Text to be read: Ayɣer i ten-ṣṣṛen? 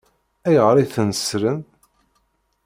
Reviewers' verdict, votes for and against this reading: rejected, 1, 2